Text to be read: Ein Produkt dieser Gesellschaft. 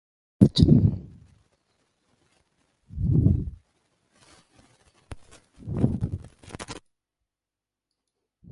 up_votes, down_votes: 0, 2